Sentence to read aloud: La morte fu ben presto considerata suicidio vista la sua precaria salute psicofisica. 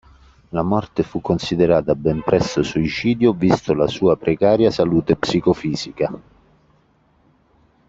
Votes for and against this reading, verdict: 0, 2, rejected